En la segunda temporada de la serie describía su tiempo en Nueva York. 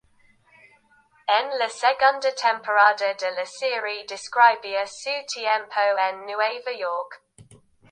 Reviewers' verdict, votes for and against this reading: rejected, 0, 2